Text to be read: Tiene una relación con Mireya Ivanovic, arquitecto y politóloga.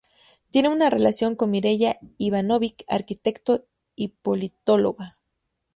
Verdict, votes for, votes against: rejected, 0, 2